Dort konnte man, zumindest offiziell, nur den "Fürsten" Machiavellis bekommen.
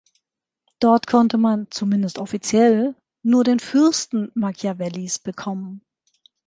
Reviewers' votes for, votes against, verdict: 3, 0, accepted